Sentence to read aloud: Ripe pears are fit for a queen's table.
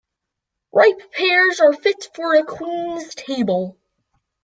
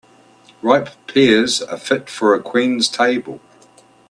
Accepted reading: second